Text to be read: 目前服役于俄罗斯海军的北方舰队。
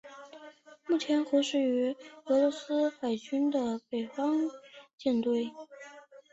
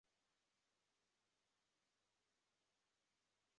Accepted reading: first